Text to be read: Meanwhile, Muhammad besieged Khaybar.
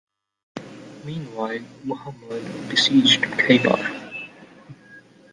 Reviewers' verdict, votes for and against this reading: accepted, 2, 0